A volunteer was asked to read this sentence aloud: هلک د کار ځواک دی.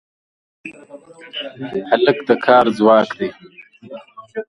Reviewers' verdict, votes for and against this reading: rejected, 1, 2